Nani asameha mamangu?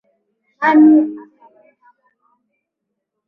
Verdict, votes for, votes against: rejected, 4, 5